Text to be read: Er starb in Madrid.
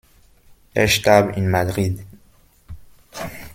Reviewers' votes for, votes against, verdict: 2, 0, accepted